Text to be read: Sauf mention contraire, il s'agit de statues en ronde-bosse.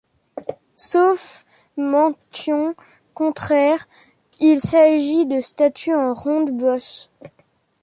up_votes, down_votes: 1, 3